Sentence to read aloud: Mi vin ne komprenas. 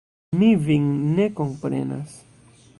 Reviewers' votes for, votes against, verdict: 1, 2, rejected